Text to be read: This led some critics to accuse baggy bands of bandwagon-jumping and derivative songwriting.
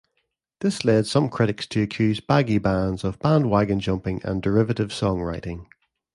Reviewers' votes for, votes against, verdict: 2, 0, accepted